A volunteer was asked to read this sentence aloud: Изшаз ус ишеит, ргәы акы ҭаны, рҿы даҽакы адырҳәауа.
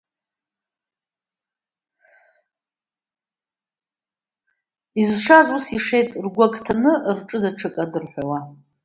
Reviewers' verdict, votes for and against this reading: rejected, 0, 2